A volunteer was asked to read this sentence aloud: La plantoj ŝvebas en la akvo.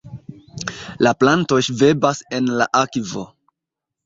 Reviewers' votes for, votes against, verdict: 0, 2, rejected